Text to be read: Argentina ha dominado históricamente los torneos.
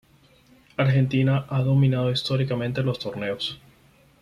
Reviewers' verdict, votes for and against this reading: accepted, 4, 0